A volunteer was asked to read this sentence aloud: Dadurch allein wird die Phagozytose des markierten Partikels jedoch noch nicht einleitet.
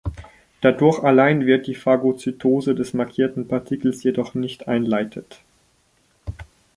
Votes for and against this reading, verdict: 0, 2, rejected